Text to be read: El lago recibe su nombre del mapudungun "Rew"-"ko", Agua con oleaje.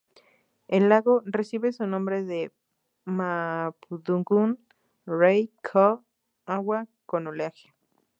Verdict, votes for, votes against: rejected, 2, 2